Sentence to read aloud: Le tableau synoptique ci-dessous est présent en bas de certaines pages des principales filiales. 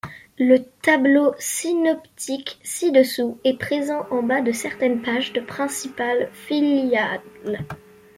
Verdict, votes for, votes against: rejected, 0, 2